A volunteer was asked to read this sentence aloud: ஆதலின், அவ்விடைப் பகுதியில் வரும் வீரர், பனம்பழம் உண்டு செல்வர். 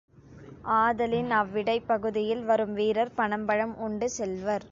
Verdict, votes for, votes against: accepted, 2, 0